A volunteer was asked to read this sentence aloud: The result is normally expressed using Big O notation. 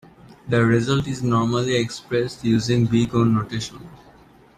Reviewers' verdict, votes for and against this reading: accepted, 2, 0